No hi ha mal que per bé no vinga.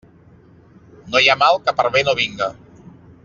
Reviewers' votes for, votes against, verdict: 3, 0, accepted